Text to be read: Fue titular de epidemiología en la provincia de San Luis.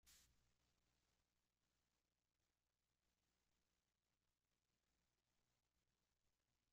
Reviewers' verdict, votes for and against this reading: rejected, 0, 2